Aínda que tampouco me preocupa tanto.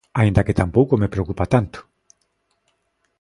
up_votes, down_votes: 2, 0